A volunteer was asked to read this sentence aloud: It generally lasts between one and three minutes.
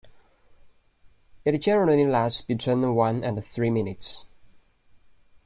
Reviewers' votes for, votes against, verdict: 2, 0, accepted